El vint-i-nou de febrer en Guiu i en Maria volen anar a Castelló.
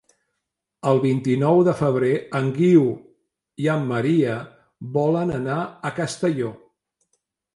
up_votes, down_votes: 2, 0